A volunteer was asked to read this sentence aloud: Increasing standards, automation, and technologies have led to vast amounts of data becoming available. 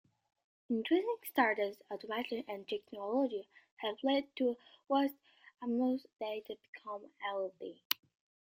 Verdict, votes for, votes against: rejected, 0, 2